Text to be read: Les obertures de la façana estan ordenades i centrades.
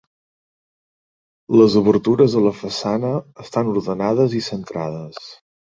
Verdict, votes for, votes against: accepted, 2, 0